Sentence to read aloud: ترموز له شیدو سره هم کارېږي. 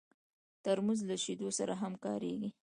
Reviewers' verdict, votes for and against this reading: rejected, 1, 2